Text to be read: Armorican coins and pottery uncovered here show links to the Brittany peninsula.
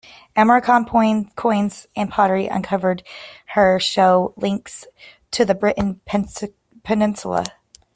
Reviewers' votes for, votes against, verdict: 0, 2, rejected